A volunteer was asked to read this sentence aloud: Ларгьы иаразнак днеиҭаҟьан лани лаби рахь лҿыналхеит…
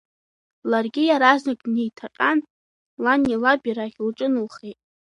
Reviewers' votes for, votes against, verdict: 0, 2, rejected